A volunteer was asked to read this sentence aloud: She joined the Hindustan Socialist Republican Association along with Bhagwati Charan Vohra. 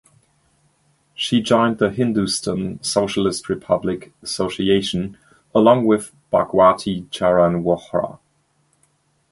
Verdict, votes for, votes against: rejected, 0, 2